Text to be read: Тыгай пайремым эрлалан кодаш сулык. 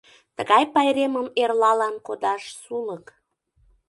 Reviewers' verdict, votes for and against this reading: accepted, 2, 0